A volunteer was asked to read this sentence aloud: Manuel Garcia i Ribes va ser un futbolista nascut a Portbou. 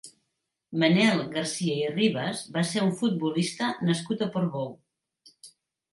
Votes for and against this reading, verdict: 1, 2, rejected